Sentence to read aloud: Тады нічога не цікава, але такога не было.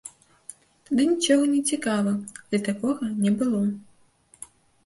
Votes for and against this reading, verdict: 1, 2, rejected